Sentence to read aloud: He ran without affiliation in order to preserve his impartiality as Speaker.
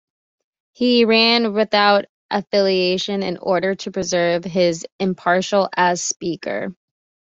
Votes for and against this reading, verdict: 2, 1, accepted